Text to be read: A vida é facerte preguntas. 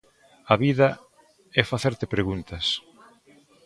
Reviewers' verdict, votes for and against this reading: accepted, 2, 0